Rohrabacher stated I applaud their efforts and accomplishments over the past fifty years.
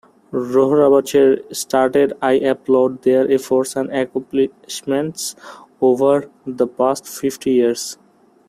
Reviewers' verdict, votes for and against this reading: rejected, 0, 2